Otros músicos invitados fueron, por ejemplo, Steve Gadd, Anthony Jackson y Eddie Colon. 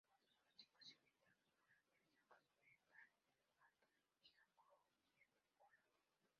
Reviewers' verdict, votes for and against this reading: rejected, 0, 2